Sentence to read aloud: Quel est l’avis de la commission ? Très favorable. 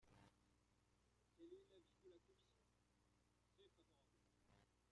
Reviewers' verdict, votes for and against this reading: rejected, 0, 2